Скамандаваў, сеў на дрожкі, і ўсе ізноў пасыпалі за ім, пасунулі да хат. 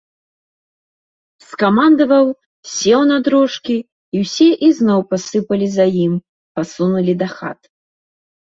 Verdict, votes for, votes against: accepted, 2, 0